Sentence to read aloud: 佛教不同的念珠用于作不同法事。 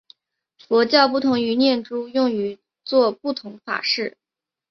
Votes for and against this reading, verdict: 4, 2, accepted